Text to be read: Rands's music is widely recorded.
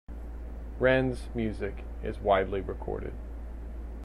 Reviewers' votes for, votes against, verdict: 2, 0, accepted